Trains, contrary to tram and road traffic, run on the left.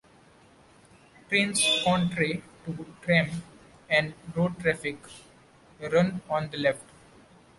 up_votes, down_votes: 0, 2